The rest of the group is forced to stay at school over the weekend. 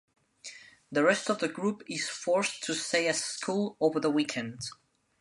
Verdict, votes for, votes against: rejected, 0, 2